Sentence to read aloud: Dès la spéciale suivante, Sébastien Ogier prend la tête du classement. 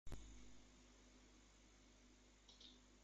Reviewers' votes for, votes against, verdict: 0, 2, rejected